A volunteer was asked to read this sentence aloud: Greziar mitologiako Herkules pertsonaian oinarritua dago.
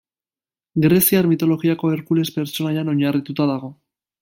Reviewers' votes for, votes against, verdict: 2, 0, accepted